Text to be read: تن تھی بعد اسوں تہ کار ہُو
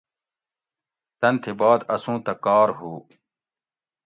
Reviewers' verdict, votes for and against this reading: accepted, 2, 0